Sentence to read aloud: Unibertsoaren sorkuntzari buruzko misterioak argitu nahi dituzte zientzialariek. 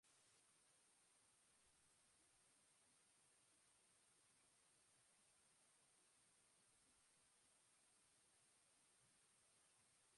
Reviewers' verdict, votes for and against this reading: rejected, 0, 3